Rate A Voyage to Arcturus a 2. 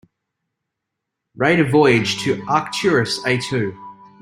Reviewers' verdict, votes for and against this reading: rejected, 0, 2